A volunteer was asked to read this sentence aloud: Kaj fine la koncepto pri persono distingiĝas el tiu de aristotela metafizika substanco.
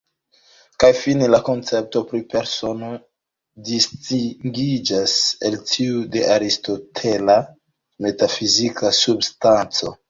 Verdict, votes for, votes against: rejected, 0, 2